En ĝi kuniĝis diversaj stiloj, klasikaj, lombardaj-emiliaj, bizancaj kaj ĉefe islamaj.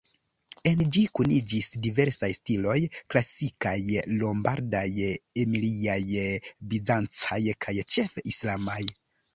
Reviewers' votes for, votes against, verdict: 2, 3, rejected